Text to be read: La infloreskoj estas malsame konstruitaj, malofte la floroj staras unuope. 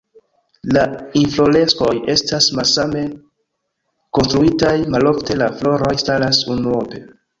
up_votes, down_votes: 2, 0